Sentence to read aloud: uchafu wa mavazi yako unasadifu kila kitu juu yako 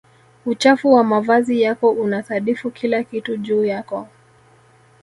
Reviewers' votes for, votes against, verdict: 0, 2, rejected